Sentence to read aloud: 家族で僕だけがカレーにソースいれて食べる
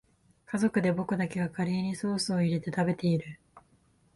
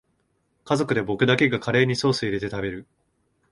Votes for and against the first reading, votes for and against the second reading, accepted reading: 1, 2, 2, 0, second